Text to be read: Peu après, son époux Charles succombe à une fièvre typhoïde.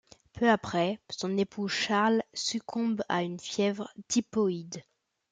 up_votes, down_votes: 0, 2